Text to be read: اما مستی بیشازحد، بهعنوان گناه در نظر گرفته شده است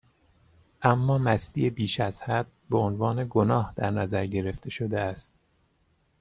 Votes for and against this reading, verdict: 2, 0, accepted